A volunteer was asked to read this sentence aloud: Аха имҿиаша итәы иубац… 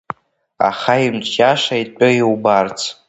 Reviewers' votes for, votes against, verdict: 3, 2, accepted